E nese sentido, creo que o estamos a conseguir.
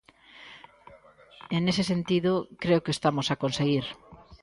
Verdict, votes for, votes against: accepted, 2, 1